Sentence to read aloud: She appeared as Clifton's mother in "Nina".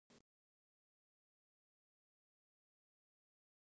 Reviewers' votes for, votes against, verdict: 0, 2, rejected